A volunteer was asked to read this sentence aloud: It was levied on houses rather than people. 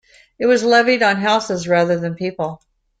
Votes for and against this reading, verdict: 2, 0, accepted